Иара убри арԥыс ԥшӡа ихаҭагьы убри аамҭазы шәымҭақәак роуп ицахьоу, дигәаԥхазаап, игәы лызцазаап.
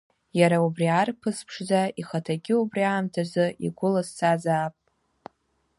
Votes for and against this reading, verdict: 0, 2, rejected